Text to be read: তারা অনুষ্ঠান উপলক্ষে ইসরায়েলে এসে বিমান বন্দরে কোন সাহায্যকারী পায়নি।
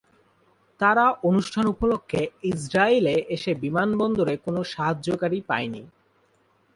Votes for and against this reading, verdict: 2, 0, accepted